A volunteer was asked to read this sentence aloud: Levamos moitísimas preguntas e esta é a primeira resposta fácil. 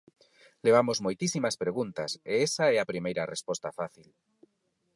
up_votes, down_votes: 0, 4